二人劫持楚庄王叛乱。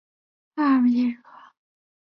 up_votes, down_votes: 1, 2